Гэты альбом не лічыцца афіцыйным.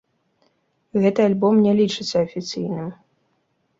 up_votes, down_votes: 2, 0